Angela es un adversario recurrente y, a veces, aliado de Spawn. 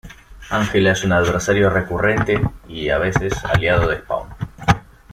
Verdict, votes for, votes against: accepted, 2, 0